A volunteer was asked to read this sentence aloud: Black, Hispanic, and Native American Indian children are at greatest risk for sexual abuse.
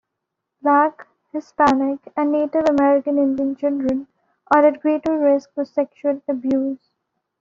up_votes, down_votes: 1, 2